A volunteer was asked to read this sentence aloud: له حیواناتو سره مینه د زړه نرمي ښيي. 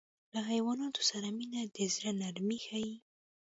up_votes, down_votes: 2, 0